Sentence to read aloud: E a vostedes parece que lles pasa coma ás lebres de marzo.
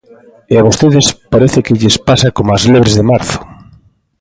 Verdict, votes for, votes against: accepted, 2, 1